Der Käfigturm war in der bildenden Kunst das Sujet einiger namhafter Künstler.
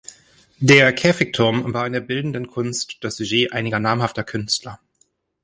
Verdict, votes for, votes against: accepted, 2, 0